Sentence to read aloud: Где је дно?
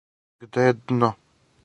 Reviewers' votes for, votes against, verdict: 4, 0, accepted